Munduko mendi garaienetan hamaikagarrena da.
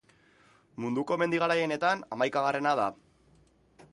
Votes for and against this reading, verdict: 3, 0, accepted